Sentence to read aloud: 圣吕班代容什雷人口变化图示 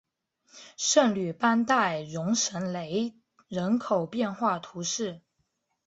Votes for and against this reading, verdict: 2, 0, accepted